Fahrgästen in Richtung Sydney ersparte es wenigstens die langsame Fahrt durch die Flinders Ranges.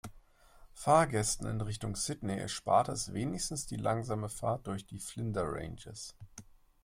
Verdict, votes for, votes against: rejected, 0, 2